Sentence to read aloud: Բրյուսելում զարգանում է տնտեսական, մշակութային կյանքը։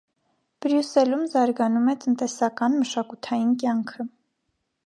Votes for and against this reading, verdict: 2, 0, accepted